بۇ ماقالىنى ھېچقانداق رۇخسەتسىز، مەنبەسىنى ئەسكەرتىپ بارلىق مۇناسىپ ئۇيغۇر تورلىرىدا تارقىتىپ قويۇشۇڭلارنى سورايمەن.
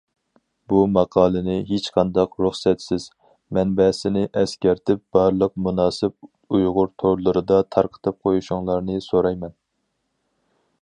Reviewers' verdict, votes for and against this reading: accepted, 4, 0